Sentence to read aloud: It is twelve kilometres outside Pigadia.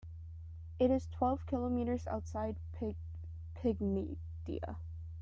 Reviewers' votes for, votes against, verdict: 0, 2, rejected